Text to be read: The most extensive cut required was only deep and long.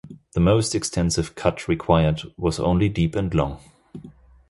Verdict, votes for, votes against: accepted, 2, 0